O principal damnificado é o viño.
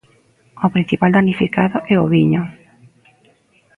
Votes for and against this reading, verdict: 2, 0, accepted